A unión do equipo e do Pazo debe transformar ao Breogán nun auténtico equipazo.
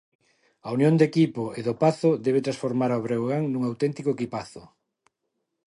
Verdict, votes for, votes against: accepted, 3, 0